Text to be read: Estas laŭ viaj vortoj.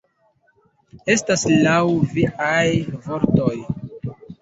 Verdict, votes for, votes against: rejected, 1, 2